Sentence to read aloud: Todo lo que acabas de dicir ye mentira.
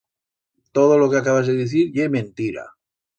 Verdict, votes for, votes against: accepted, 2, 0